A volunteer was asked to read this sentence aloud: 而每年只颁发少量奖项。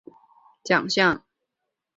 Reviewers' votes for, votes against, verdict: 0, 2, rejected